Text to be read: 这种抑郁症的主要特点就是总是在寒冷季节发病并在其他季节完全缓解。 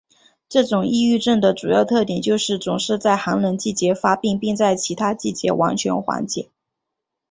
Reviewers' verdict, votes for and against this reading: accepted, 2, 0